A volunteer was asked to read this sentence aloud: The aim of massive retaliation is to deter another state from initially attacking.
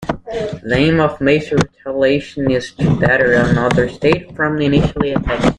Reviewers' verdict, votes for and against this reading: rejected, 0, 2